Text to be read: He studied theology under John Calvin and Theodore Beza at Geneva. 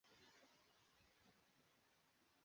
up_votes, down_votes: 0, 2